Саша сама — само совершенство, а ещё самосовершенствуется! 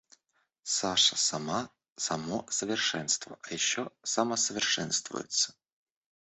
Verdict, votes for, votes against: rejected, 1, 2